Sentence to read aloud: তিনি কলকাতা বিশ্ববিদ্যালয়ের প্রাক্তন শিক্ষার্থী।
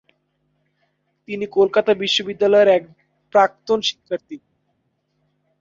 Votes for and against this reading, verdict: 0, 2, rejected